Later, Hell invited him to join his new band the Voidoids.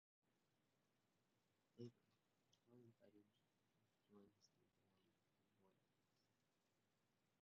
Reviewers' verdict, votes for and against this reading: rejected, 0, 3